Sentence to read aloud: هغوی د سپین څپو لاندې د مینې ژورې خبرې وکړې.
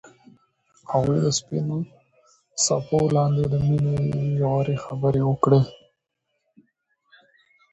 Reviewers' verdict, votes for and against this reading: rejected, 1, 2